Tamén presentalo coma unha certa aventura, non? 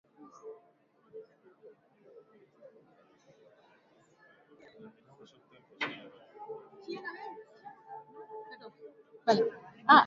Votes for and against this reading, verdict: 0, 3, rejected